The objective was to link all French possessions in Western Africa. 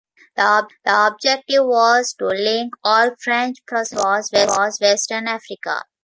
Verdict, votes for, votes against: rejected, 0, 2